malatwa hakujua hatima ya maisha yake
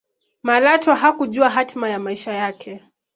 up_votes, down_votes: 2, 0